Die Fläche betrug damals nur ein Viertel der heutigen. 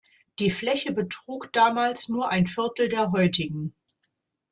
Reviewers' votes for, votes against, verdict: 2, 0, accepted